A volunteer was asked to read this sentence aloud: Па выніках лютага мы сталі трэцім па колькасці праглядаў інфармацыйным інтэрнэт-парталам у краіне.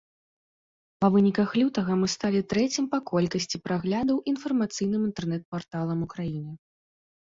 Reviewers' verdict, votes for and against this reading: accepted, 2, 0